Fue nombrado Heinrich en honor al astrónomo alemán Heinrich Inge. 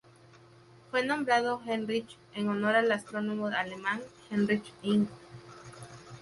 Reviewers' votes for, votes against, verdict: 4, 0, accepted